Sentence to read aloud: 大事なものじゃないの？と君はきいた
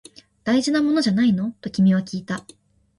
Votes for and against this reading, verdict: 8, 0, accepted